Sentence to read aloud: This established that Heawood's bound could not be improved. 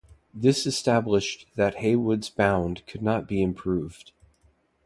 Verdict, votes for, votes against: accepted, 2, 0